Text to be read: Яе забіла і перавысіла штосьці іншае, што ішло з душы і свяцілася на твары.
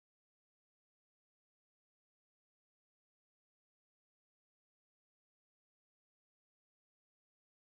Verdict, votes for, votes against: rejected, 0, 2